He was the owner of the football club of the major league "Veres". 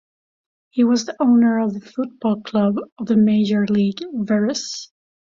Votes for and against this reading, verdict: 3, 0, accepted